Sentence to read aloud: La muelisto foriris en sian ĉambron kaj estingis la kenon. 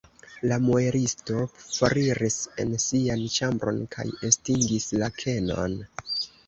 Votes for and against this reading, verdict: 0, 2, rejected